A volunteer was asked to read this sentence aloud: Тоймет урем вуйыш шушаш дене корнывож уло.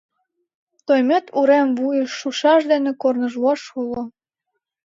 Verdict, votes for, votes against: accepted, 3, 2